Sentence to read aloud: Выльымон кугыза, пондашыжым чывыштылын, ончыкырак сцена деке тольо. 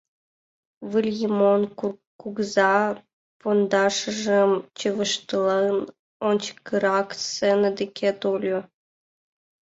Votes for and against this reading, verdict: 1, 2, rejected